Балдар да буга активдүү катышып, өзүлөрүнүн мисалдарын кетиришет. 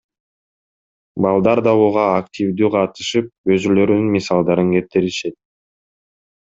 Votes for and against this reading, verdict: 1, 2, rejected